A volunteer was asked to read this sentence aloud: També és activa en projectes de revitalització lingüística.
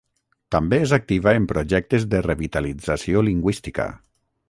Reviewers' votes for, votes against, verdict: 6, 0, accepted